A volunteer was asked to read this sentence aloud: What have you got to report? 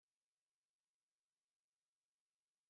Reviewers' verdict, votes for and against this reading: rejected, 0, 2